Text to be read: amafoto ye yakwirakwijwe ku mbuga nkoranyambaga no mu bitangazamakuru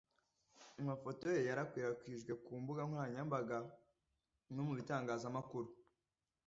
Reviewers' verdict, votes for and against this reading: rejected, 1, 2